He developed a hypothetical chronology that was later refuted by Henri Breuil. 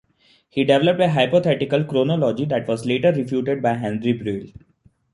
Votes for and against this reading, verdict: 2, 0, accepted